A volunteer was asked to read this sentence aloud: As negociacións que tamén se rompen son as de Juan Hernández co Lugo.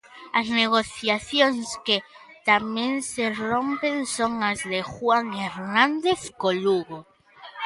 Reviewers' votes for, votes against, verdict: 2, 0, accepted